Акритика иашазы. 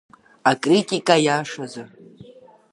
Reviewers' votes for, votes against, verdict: 2, 0, accepted